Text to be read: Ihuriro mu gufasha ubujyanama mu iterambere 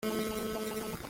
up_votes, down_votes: 0, 2